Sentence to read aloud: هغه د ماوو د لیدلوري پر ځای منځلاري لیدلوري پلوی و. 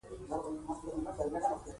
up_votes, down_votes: 1, 2